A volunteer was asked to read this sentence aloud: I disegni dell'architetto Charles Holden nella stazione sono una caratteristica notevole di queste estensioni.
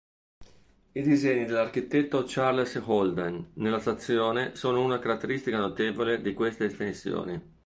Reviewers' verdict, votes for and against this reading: rejected, 2, 3